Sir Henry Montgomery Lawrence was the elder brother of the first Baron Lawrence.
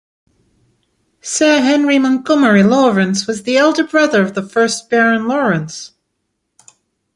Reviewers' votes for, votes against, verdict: 2, 0, accepted